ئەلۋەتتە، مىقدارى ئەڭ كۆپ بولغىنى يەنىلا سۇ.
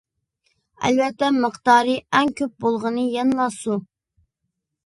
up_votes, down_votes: 2, 0